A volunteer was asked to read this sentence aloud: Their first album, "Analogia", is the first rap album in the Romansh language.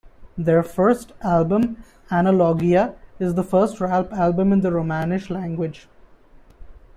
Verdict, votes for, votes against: rejected, 1, 2